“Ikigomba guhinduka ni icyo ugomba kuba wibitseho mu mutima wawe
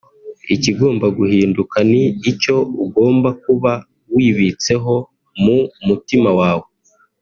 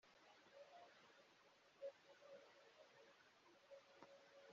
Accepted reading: first